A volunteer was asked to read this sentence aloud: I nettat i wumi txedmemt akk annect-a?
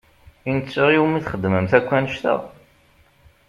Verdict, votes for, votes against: rejected, 0, 2